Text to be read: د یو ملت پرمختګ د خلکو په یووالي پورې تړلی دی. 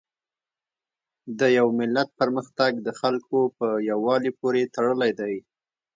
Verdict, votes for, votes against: rejected, 1, 2